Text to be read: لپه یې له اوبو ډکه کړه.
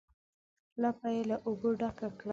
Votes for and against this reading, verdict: 2, 0, accepted